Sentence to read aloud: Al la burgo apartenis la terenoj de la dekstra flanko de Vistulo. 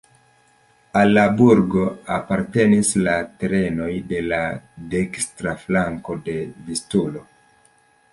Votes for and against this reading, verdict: 1, 2, rejected